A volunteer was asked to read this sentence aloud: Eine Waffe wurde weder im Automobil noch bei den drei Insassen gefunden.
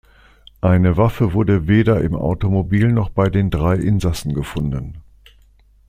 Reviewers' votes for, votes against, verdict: 2, 0, accepted